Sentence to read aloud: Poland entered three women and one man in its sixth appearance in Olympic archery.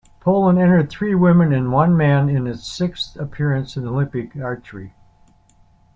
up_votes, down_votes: 2, 0